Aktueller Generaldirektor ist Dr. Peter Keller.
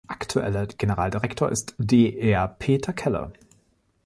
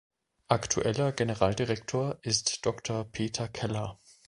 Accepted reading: second